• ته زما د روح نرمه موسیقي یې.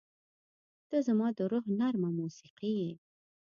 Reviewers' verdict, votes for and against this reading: accepted, 2, 0